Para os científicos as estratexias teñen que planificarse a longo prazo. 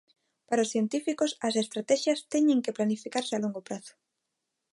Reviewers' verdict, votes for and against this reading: accepted, 2, 0